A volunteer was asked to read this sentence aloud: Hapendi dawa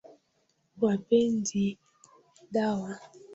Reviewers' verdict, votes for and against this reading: rejected, 0, 2